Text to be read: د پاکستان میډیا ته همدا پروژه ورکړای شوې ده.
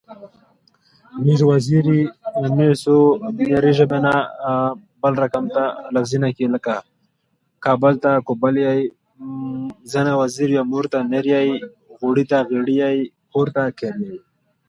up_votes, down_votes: 0, 2